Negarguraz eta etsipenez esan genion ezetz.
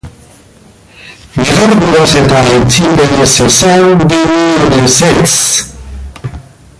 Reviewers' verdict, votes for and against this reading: rejected, 0, 3